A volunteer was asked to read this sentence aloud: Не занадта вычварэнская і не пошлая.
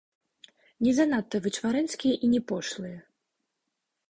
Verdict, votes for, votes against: rejected, 1, 2